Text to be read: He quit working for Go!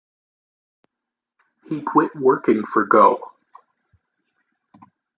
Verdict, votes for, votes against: accepted, 2, 1